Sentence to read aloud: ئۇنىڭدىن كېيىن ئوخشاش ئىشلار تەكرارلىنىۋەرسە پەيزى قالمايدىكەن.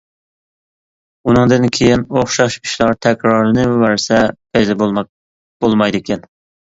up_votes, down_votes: 0, 2